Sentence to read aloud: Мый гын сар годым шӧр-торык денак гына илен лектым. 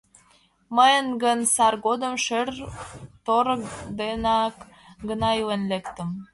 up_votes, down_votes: 2, 0